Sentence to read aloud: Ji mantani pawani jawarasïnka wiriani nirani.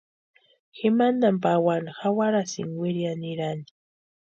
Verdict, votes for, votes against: accepted, 2, 0